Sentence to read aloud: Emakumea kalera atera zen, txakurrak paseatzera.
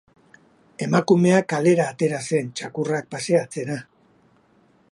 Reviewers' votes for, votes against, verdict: 2, 0, accepted